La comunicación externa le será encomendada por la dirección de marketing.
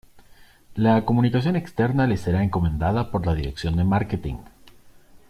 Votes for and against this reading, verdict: 2, 0, accepted